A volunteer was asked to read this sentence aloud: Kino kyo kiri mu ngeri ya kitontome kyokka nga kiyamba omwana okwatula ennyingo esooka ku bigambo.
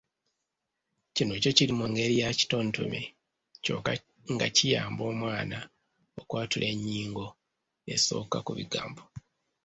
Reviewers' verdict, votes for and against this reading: accepted, 2, 0